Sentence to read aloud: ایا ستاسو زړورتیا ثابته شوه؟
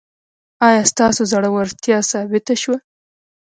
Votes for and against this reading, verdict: 2, 0, accepted